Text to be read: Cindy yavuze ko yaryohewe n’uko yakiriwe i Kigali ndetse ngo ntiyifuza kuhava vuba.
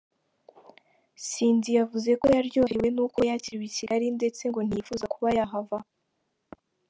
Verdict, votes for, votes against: rejected, 1, 3